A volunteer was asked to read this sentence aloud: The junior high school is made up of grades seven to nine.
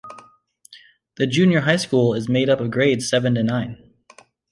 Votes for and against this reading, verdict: 2, 0, accepted